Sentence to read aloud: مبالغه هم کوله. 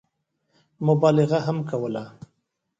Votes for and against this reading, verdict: 2, 1, accepted